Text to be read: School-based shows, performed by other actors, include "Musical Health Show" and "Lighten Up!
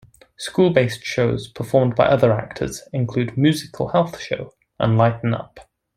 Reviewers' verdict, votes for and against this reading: accepted, 2, 0